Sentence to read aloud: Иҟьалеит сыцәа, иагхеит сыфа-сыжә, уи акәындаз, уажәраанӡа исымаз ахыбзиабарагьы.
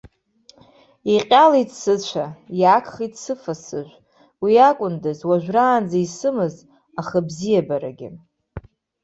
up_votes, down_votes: 2, 0